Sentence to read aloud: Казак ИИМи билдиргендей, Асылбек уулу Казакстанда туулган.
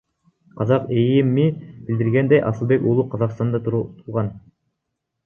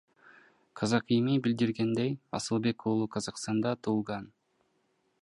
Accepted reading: second